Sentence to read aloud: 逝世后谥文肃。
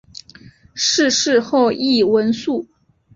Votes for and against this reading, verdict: 6, 0, accepted